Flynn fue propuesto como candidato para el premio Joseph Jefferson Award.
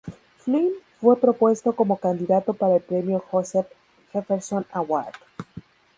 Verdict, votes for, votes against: rejected, 4, 4